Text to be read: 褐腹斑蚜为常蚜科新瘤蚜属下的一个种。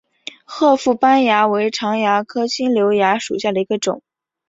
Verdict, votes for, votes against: accepted, 3, 1